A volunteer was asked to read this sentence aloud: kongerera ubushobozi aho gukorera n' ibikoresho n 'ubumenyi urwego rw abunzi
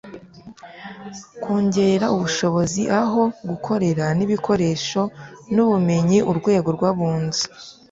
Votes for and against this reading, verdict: 1, 2, rejected